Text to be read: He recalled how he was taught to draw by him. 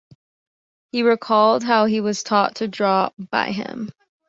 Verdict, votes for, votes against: accepted, 2, 0